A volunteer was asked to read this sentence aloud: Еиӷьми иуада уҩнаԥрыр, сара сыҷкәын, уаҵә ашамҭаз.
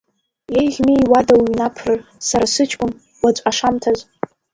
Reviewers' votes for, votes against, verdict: 1, 2, rejected